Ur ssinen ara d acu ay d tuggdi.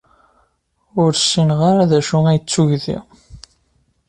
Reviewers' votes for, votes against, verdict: 1, 2, rejected